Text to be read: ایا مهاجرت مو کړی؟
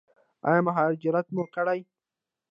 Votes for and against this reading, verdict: 0, 2, rejected